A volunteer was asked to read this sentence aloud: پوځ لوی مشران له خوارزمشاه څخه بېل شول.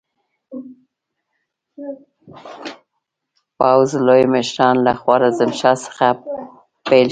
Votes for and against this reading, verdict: 0, 2, rejected